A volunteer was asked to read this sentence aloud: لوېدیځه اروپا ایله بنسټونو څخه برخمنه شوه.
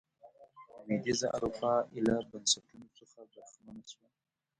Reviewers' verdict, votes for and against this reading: rejected, 0, 2